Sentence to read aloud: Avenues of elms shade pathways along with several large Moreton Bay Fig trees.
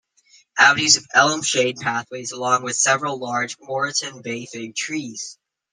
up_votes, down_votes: 0, 2